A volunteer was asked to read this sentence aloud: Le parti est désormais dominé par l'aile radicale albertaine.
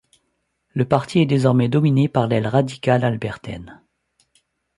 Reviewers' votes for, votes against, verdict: 2, 0, accepted